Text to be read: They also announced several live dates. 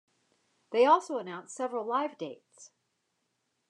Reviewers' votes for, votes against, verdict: 2, 0, accepted